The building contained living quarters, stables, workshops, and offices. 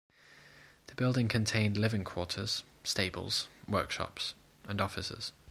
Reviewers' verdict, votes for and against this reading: accepted, 2, 1